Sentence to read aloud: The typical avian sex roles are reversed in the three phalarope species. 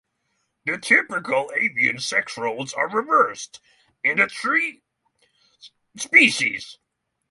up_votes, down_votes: 0, 3